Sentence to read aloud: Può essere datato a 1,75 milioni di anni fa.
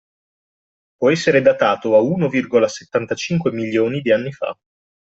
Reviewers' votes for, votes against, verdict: 0, 2, rejected